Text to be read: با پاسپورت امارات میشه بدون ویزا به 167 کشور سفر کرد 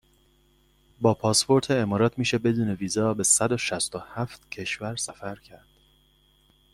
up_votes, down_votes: 0, 2